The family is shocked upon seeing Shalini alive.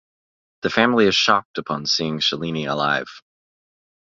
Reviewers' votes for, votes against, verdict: 3, 0, accepted